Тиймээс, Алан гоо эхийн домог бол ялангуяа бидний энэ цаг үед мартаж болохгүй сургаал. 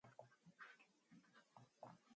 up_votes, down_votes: 0, 2